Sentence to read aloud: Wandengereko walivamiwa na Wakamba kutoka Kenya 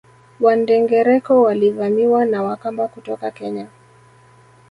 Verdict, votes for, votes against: rejected, 0, 2